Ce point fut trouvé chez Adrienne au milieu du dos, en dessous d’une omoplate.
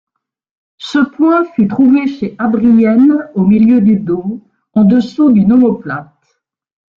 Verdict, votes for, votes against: accepted, 2, 0